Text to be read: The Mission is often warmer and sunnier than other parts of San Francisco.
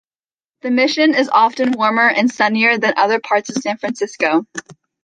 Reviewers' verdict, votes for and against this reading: accepted, 2, 0